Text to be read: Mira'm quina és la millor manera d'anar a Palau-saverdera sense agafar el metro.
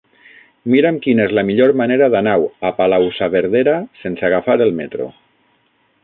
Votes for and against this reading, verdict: 3, 6, rejected